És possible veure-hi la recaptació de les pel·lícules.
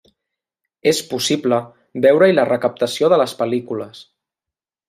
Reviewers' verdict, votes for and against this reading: accepted, 2, 0